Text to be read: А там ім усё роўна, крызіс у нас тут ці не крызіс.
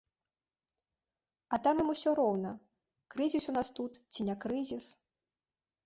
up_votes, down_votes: 2, 0